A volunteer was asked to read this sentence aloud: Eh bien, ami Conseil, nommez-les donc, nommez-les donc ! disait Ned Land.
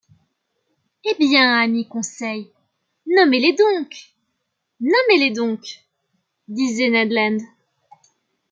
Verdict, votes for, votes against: accepted, 2, 0